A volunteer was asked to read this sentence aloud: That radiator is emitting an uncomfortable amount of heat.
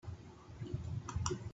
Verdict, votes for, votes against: rejected, 0, 2